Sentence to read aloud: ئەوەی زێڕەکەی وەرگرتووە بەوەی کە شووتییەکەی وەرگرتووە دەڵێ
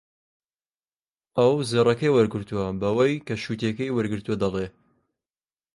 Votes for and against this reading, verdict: 1, 2, rejected